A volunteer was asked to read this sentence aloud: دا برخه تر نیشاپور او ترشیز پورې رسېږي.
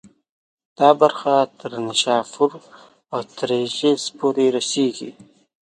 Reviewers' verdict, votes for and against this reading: accepted, 2, 0